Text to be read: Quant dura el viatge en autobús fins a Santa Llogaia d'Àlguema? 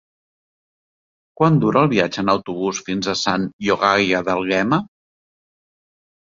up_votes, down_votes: 1, 2